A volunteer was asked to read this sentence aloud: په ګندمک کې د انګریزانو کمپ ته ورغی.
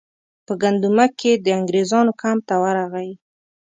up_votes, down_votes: 2, 0